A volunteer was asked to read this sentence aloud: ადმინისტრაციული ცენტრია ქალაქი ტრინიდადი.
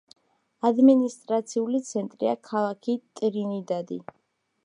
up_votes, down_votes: 2, 0